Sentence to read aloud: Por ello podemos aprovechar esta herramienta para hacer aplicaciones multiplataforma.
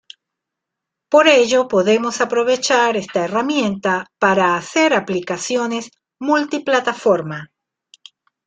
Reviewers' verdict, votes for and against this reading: accepted, 2, 0